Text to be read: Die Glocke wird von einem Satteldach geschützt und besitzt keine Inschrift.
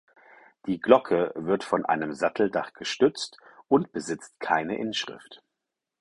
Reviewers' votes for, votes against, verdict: 0, 4, rejected